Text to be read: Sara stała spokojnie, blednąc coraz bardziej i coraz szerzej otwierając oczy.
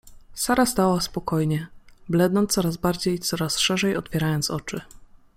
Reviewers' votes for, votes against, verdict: 2, 1, accepted